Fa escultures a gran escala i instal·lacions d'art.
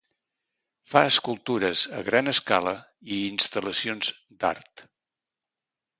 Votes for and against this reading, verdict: 2, 0, accepted